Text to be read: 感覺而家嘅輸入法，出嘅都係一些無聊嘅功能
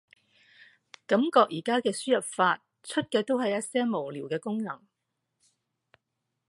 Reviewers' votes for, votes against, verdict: 2, 1, accepted